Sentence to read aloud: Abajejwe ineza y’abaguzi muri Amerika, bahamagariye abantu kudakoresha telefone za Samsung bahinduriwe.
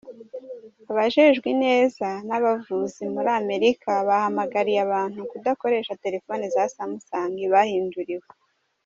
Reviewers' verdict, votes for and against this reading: rejected, 1, 2